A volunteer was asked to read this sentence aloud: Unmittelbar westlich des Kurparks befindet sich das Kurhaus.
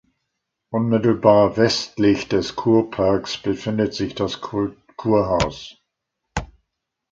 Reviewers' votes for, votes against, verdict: 0, 2, rejected